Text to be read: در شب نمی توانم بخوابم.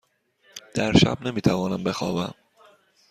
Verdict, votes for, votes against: accepted, 2, 0